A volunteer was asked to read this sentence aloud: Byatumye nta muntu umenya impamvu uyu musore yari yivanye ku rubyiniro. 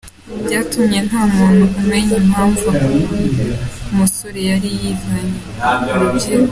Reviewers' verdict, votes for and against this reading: rejected, 1, 2